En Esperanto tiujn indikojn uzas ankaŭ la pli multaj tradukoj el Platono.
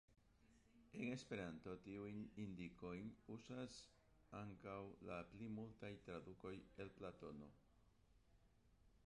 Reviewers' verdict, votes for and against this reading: rejected, 0, 2